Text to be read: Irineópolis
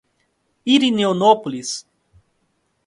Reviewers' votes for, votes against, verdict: 0, 2, rejected